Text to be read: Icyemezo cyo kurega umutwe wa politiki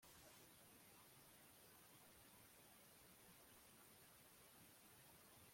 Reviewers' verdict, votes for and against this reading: rejected, 0, 2